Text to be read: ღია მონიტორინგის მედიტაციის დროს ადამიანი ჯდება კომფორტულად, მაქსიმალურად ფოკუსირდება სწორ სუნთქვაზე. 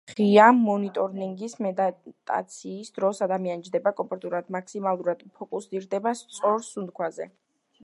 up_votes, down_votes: 0, 2